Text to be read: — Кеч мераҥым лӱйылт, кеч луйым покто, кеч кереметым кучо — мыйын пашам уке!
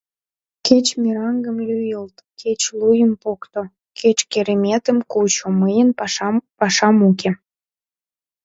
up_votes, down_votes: 0, 2